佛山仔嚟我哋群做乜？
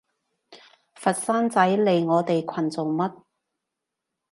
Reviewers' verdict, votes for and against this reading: accepted, 3, 0